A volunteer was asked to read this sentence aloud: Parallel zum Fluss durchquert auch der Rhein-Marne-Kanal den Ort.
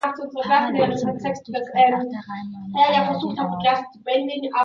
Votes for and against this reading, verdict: 0, 3, rejected